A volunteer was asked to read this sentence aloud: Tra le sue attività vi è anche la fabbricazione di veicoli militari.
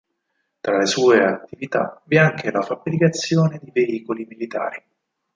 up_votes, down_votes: 4, 2